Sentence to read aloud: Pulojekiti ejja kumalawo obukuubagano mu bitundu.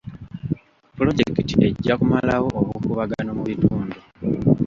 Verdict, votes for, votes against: accepted, 2, 0